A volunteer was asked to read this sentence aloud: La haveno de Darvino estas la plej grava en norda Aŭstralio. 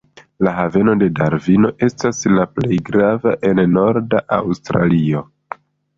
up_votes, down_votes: 2, 0